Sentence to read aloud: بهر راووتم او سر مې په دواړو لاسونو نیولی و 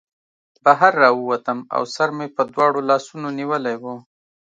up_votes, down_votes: 2, 0